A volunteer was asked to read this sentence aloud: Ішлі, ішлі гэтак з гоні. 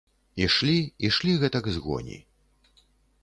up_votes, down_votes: 3, 0